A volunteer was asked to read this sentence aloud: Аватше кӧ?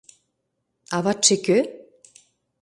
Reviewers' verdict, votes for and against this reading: accepted, 2, 0